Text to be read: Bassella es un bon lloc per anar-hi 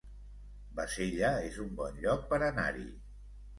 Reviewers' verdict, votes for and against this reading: accepted, 2, 0